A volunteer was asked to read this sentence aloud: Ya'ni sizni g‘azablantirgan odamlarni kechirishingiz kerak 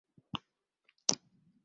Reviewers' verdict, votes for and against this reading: rejected, 0, 2